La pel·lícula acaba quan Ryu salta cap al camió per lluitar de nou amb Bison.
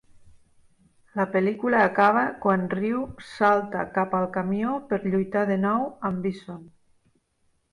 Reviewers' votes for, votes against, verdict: 3, 0, accepted